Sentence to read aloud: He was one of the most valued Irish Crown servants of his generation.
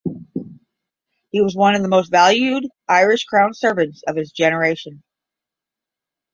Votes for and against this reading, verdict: 10, 0, accepted